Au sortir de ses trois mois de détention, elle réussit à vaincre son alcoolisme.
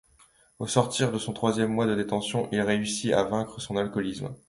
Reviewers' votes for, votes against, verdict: 0, 2, rejected